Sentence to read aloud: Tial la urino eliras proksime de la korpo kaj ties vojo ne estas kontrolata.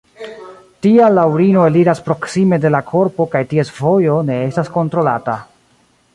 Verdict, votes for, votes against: rejected, 0, 2